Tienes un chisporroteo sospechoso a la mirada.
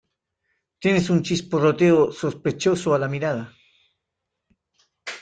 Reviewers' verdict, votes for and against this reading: accepted, 2, 0